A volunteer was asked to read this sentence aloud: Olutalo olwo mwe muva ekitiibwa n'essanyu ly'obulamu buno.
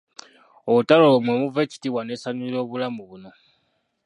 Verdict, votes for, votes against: rejected, 0, 2